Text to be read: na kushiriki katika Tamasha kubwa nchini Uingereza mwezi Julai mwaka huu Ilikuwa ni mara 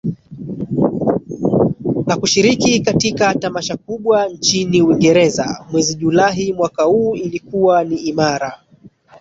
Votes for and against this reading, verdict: 1, 2, rejected